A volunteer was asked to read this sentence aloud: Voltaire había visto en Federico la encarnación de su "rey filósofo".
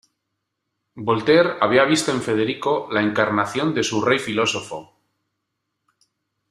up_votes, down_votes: 2, 1